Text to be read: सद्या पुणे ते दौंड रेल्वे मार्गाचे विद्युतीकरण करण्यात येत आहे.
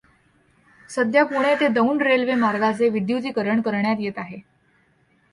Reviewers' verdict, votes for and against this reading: accepted, 2, 0